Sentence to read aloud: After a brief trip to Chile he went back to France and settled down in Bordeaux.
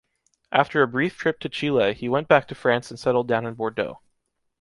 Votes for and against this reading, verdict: 2, 0, accepted